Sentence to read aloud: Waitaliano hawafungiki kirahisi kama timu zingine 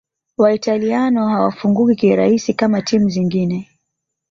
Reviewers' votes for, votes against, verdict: 1, 2, rejected